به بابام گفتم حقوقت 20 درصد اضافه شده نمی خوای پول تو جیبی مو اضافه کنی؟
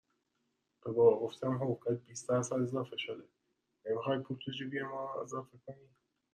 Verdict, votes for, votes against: rejected, 0, 2